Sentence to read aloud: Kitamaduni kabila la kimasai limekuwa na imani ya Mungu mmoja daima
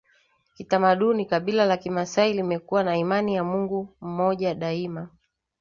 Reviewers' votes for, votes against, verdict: 2, 0, accepted